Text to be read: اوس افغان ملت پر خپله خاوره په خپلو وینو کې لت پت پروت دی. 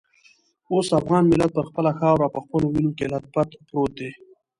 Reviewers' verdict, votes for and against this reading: accepted, 2, 0